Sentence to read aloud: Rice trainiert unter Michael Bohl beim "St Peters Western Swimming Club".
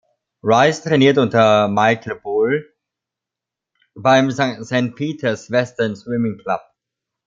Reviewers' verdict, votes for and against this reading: rejected, 1, 2